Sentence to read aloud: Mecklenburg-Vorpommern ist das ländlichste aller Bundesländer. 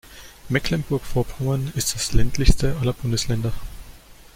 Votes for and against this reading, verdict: 2, 0, accepted